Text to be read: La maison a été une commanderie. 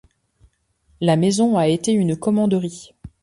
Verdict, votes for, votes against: accepted, 2, 0